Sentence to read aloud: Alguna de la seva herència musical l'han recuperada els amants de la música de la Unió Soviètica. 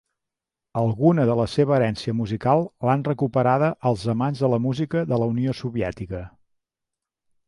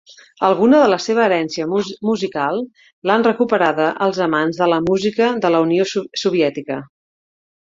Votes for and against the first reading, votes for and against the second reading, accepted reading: 2, 0, 0, 2, first